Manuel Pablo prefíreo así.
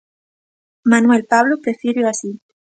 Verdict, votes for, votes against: accepted, 2, 0